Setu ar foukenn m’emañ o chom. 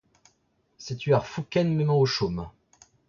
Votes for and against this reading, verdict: 0, 2, rejected